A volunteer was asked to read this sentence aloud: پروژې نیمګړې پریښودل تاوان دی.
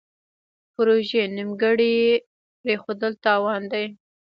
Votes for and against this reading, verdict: 1, 2, rejected